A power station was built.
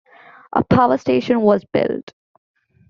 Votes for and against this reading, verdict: 2, 0, accepted